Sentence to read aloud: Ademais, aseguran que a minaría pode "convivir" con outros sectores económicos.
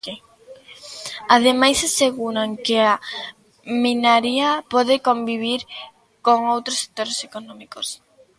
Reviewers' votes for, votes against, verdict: 1, 2, rejected